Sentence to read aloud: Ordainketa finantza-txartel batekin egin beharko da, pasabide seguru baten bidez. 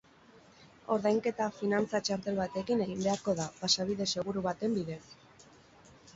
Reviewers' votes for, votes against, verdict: 4, 0, accepted